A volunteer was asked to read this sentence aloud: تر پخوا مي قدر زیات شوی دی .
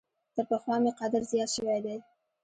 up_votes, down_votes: 2, 0